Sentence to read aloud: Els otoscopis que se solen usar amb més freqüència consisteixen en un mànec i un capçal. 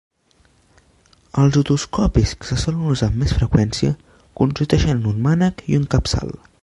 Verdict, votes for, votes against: rejected, 2, 4